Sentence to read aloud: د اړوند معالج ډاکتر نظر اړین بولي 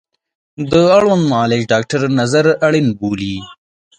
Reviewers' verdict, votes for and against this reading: accepted, 2, 0